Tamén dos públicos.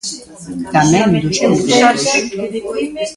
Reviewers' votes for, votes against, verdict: 0, 2, rejected